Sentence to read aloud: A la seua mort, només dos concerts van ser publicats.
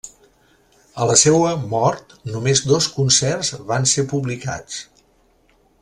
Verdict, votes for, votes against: accepted, 3, 0